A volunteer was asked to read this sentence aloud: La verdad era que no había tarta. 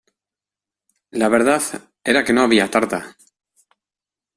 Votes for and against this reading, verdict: 2, 0, accepted